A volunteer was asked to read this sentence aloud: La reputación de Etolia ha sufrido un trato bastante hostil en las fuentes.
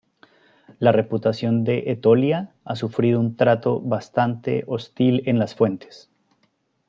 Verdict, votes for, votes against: accepted, 2, 0